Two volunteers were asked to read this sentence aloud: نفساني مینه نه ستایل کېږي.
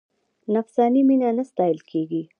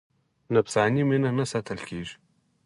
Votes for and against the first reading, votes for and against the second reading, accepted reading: 0, 2, 4, 2, second